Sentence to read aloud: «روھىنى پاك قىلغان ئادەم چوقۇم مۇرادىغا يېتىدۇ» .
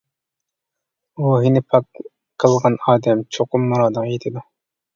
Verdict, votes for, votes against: rejected, 1, 2